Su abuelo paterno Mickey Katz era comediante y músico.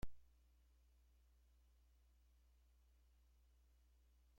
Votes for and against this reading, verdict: 0, 2, rejected